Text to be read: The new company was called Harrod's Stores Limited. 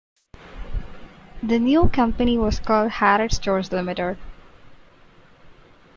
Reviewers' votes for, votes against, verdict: 1, 3, rejected